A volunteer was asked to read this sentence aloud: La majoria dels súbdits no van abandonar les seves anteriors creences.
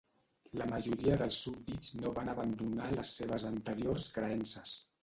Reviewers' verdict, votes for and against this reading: rejected, 0, 2